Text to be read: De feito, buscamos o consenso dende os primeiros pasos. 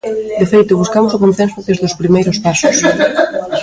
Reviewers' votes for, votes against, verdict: 0, 2, rejected